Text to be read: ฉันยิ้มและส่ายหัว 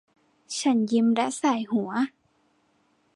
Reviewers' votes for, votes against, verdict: 2, 1, accepted